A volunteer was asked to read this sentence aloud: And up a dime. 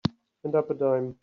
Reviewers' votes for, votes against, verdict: 2, 3, rejected